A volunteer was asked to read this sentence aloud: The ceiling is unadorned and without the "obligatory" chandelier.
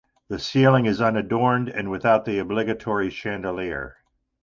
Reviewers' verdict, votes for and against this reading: accepted, 2, 0